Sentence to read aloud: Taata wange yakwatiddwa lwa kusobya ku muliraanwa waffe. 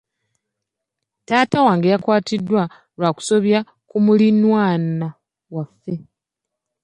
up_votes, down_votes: 1, 2